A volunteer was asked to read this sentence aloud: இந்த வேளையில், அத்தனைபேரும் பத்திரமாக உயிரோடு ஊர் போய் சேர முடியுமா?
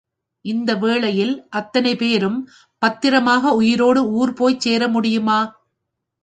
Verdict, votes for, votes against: accepted, 2, 0